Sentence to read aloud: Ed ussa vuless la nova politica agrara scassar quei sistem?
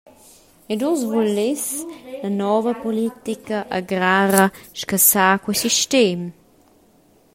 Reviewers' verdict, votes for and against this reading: rejected, 0, 2